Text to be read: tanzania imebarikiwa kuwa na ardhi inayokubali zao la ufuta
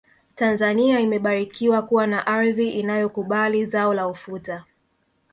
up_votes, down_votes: 1, 2